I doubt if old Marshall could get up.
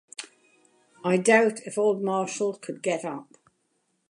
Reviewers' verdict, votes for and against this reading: accepted, 2, 0